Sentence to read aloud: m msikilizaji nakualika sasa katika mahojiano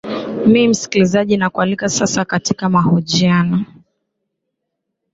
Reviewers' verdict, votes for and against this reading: accepted, 9, 0